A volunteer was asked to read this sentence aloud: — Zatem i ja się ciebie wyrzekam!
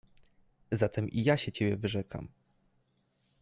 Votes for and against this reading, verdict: 2, 1, accepted